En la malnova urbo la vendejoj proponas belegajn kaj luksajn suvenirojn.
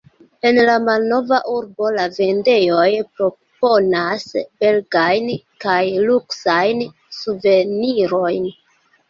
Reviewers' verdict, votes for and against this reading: accepted, 2, 0